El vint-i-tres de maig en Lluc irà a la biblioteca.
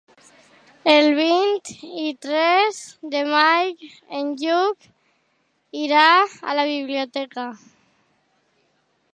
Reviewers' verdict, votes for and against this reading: rejected, 1, 2